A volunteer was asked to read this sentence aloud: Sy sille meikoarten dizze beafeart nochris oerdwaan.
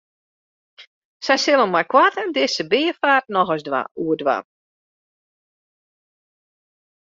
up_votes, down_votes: 1, 2